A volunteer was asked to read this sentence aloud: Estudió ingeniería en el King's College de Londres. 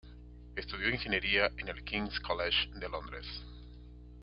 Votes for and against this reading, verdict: 2, 0, accepted